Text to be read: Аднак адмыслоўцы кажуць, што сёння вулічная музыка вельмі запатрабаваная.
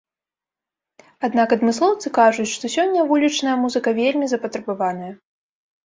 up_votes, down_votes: 2, 0